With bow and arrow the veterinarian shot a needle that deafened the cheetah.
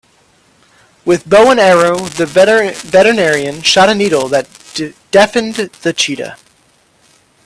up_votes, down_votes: 1, 2